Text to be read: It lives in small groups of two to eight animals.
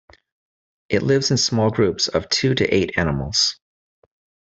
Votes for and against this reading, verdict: 2, 0, accepted